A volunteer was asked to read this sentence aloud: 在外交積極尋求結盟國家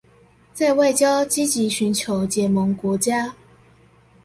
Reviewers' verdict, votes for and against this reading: accepted, 2, 0